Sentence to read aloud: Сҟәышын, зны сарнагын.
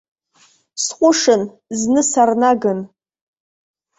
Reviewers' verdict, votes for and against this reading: rejected, 1, 2